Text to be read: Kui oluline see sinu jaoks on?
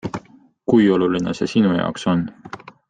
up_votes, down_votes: 2, 0